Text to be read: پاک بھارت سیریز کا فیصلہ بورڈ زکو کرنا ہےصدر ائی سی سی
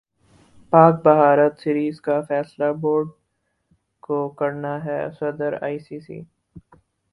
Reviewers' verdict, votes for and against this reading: accepted, 4, 0